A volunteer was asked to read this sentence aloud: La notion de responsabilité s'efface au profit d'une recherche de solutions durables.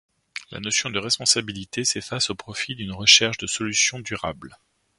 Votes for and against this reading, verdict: 2, 0, accepted